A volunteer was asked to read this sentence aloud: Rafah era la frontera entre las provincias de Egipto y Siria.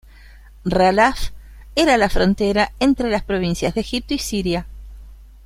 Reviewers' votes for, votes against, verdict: 1, 2, rejected